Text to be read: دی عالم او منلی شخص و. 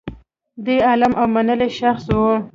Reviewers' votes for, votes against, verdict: 1, 2, rejected